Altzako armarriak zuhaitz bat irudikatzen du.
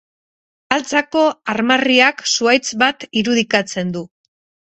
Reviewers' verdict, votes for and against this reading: rejected, 2, 2